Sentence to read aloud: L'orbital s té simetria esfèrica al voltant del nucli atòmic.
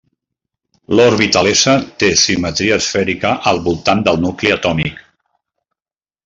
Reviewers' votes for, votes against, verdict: 2, 0, accepted